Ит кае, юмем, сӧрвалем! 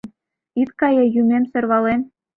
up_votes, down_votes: 2, 0